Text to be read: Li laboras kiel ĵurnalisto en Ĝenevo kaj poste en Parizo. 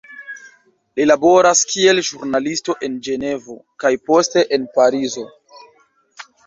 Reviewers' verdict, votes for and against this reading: accepted, 2, 1